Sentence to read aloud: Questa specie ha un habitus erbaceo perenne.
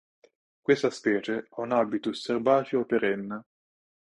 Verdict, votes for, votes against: accepted, 2, 0